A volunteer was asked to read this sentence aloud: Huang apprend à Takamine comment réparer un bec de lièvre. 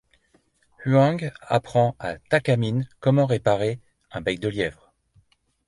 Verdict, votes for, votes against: accepted, 2, 0